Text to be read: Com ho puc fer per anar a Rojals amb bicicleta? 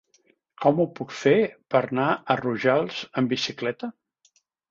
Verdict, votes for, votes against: rejected, 1, 2